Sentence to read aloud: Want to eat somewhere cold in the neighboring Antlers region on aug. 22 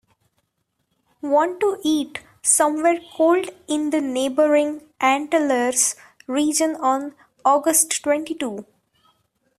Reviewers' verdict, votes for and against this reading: rejected, 0, 2